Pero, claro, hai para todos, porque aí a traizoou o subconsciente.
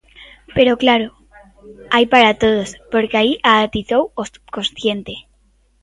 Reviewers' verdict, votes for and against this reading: rejected, 0, 2